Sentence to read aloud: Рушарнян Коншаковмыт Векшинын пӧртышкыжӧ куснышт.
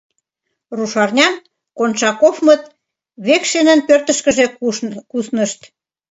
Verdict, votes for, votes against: rejected, 1, 2